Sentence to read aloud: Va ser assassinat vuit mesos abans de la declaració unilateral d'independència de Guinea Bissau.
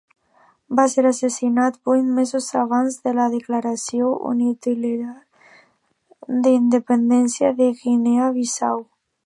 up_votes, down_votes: 0, 2